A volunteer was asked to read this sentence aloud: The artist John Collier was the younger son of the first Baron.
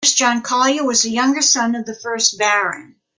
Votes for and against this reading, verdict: 1, 2, rejected